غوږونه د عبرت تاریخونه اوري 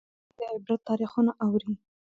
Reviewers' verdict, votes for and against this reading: rejected, 0, 2